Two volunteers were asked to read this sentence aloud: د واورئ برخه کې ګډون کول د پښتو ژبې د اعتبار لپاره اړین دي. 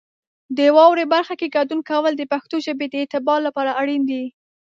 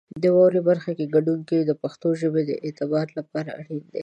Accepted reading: first